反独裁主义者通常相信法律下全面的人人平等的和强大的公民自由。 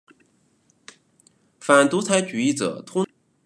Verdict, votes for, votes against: rejected, 0, 2